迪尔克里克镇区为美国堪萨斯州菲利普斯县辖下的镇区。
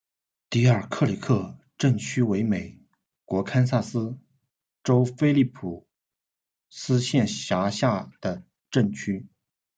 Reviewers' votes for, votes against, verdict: 0, 2, rejected